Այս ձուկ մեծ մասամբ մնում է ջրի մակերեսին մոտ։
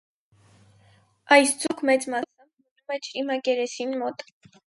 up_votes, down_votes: 2, 4